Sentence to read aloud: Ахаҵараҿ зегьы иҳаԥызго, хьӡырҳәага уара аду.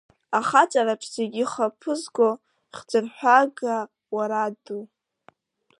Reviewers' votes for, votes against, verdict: 2, 0, accepted